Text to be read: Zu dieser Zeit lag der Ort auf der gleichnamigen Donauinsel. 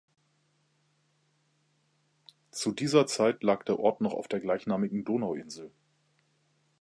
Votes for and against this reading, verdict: 0, 2, rejected